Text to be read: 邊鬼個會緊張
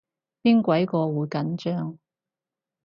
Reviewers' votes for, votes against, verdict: 6, 0, accepted